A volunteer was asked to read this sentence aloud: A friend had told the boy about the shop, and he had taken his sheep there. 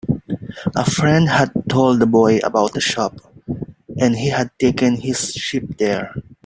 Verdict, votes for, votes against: rejected, 1, 2